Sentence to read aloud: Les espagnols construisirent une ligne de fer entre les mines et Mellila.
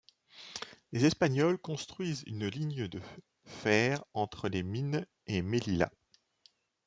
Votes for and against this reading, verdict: 1, 2, rejected